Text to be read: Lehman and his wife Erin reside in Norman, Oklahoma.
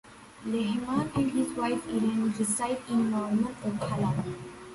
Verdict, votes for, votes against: rejected, 0, 3